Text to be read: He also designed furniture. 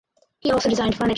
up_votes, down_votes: 2, 4